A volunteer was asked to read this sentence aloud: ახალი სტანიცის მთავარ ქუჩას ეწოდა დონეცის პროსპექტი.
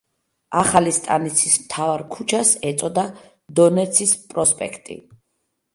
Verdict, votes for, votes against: accepted, 2, 0